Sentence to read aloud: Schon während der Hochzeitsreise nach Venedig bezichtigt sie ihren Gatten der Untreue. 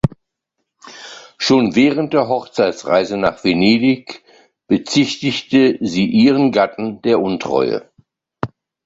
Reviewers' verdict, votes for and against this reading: rejected, 0, 2